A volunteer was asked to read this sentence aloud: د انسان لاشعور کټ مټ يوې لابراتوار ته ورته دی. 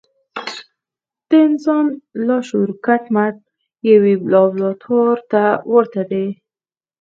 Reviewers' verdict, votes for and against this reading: rejected, 2, 4